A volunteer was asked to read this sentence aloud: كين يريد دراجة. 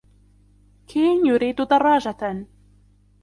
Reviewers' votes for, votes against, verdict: 0, 2, rejected